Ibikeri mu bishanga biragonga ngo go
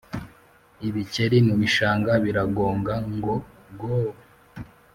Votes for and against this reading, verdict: 2, 0, accepted